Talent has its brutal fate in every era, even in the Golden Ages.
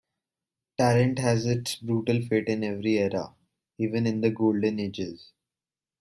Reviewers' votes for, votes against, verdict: 2, 0, accepted